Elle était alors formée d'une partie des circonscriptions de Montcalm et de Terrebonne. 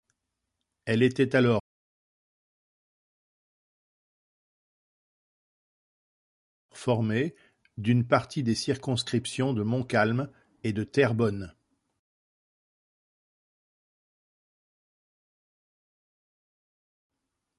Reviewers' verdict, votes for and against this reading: rejected, 0, 2